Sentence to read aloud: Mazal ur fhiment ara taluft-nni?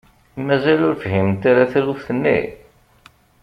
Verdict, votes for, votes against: accepted, 2, 0